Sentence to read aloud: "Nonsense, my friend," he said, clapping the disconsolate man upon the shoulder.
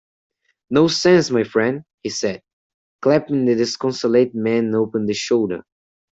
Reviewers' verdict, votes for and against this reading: accepted, 2, 1